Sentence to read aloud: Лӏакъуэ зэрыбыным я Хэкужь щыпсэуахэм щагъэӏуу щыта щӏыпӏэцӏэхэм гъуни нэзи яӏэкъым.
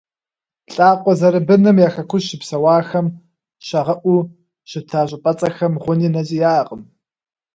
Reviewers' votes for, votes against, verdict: 2, 0, accepted